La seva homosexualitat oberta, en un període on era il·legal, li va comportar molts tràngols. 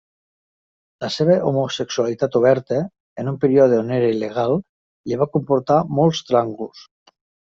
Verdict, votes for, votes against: accepted, 2, 0